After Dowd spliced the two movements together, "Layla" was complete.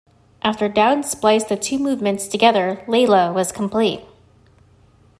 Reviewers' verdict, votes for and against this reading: accepted, 2, 0